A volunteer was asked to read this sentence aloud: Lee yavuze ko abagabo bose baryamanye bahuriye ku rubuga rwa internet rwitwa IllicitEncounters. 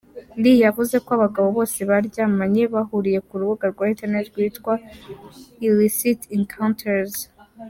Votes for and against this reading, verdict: 3, 1, accepted